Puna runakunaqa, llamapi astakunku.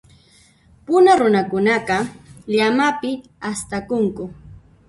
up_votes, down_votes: 1, 2